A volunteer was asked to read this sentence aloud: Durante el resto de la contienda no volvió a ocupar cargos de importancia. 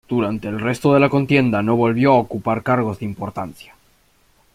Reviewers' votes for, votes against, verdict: 2, 0, accepted